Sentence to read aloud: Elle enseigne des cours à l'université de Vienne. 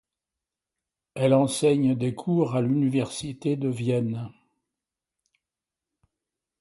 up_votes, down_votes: 2, 0